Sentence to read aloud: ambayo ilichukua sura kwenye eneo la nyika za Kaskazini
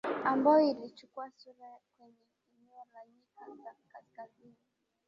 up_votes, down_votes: 0, 2